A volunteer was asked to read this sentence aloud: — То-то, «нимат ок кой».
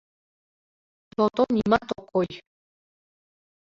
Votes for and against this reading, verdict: 2, 1, accepted